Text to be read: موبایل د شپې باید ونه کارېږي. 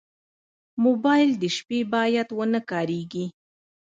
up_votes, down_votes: 1, 2